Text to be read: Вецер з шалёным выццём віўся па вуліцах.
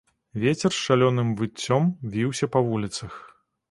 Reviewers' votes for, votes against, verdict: 2, 0, accepted